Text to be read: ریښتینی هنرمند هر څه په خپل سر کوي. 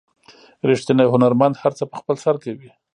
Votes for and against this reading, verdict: 2, 0, accepted